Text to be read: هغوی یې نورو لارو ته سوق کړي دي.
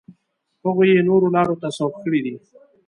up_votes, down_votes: 2, 0